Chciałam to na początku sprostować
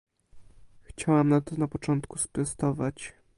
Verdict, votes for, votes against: rejected, 1, 2